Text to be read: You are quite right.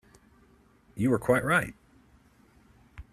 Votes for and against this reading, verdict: 2, 0, accepted